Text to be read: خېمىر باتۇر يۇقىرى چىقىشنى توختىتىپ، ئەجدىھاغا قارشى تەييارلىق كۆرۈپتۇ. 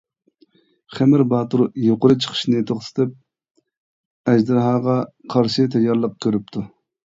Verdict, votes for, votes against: rejected, 1, 2